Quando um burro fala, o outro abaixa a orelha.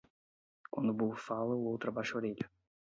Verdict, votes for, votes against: rejected, 4, 4